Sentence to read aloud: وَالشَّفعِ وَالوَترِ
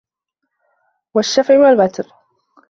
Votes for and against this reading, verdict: 2, 0, accepted